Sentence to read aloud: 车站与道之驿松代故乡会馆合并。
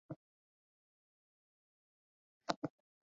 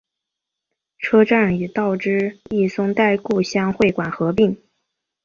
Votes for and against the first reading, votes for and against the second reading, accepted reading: 0, 3, 2, 0, second